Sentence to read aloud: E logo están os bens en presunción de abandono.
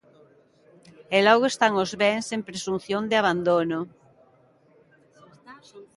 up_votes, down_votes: 2, 0